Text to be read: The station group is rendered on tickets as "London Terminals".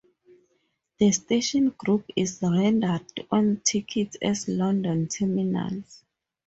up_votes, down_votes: 4, 0